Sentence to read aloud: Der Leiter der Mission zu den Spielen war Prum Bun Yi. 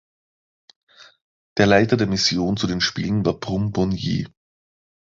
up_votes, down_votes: 3, 0